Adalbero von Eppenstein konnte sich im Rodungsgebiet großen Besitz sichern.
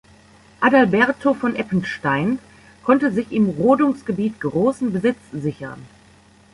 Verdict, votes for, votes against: rejected, 1, 2